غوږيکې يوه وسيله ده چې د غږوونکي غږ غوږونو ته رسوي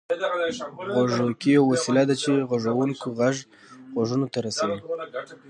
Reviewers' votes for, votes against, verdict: 1, 2, rejected